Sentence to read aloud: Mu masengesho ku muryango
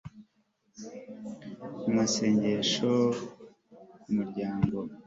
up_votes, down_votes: 2, 0